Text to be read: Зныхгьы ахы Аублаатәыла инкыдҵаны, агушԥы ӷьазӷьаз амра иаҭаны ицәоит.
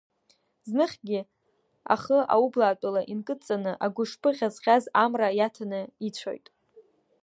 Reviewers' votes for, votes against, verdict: 2, 0, accepted